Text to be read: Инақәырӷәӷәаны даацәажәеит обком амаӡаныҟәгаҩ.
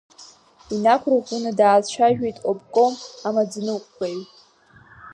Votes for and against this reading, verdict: 3, 0, accepted